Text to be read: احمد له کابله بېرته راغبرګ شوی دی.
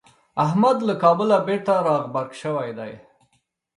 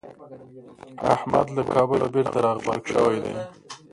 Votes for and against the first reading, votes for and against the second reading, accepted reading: 2, 0, 0, 2, first